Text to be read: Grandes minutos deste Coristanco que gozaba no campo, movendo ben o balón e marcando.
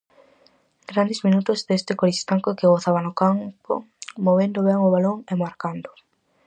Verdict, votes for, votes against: rejected, 2, 2